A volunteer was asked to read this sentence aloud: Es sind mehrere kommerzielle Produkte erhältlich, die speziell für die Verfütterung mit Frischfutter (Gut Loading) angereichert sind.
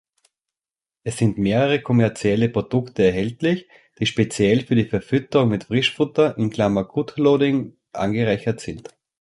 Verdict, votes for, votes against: rejected, 2, 3